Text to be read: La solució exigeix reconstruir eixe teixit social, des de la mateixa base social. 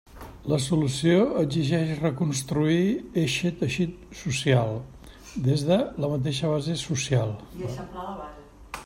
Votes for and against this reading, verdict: 1, 2, rejected